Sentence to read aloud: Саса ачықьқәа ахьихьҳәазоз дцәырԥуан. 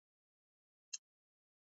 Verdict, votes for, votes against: rejected, 0, 2